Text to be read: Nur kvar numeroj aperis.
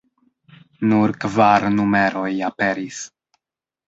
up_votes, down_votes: 1, 2